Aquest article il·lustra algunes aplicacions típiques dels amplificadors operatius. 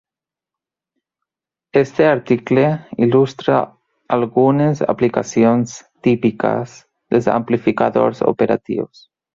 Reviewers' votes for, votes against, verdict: 1, 3, rejected